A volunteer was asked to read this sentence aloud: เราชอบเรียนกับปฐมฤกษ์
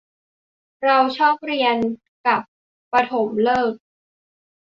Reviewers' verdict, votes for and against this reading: accepted, 4, 0